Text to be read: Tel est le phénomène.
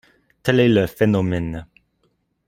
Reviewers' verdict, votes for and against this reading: accepted, 2, 0